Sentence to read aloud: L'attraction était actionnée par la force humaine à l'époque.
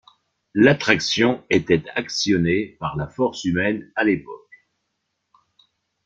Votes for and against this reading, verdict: 2, 1, accepted